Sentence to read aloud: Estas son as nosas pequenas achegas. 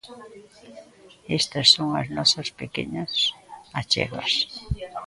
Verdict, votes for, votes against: rejected, 0, 2